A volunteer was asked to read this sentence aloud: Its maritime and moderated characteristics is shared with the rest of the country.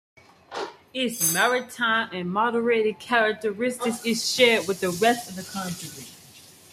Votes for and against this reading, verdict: 2, 0, accepted